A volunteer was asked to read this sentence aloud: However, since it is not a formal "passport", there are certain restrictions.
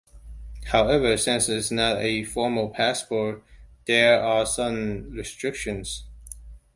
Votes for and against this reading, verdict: 2, 0, accepted